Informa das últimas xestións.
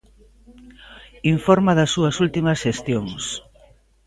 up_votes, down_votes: 0, 2